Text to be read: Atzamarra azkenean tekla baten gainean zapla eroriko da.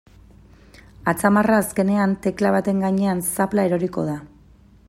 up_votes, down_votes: 2, 0